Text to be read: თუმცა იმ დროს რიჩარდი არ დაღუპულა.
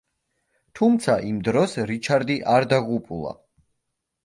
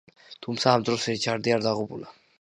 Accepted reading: first